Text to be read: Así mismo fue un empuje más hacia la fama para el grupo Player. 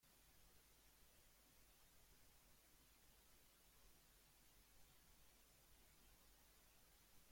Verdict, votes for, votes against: rejected, 0, 2